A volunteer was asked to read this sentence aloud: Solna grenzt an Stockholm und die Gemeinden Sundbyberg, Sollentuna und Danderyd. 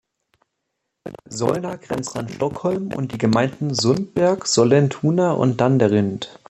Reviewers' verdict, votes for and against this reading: rejected, 1, 2